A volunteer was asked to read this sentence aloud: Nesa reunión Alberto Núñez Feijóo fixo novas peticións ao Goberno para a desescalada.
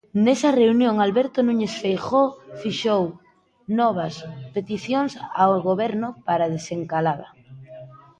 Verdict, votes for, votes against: rejected, 0, 2